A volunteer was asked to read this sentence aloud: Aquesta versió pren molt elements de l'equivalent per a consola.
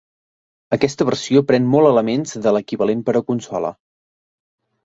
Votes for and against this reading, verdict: 3, 0, accepted